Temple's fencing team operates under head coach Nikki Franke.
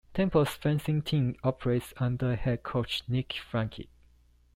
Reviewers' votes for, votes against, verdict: 2, 0, accepted